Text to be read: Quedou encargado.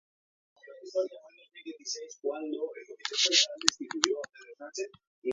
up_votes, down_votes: 0, 2